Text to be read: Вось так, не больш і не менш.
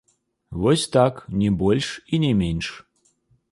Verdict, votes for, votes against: rejected, 0, 2